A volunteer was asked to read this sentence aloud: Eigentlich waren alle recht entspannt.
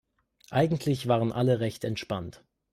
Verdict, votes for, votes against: accepted, 2, 0